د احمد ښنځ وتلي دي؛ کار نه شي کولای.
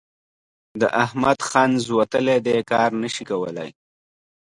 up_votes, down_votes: 2, 0